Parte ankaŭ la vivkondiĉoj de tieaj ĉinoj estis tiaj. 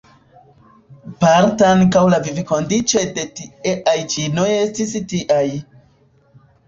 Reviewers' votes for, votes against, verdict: 0, 2, rejected